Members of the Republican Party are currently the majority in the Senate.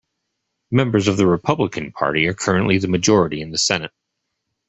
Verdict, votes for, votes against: accepted, 2, 0